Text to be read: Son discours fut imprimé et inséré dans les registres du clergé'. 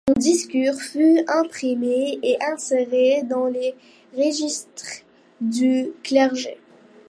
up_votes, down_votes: 1, 2